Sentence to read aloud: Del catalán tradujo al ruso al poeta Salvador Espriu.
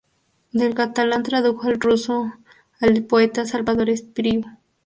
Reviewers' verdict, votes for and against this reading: rejected, 0, 2